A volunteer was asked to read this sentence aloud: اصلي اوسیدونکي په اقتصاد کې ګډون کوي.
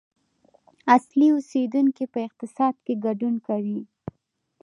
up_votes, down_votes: 2, 1